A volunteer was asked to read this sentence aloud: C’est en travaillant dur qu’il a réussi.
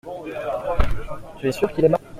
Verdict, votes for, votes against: rejected, 0, 2